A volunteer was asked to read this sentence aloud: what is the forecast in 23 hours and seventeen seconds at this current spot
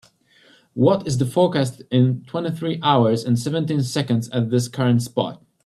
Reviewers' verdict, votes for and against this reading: rejected, 0, 2